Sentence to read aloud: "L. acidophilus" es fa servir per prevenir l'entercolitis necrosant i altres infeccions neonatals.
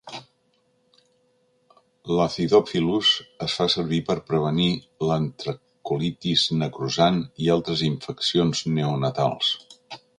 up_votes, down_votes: 1, 2